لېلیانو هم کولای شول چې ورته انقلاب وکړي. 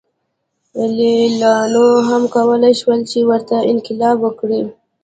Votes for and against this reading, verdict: 2, 0, accepted